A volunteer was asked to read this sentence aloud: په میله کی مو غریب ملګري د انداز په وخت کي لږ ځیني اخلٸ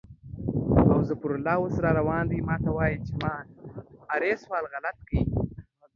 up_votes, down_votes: 0, 2